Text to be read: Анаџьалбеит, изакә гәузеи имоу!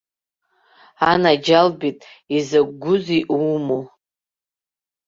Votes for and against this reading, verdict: 0, 2, rejected